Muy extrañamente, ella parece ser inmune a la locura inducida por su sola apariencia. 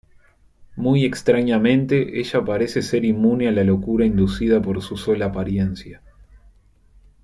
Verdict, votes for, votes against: accepted, 2, 0